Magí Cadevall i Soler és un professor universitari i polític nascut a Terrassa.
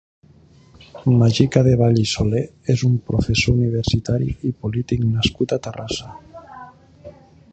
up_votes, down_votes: 0, 2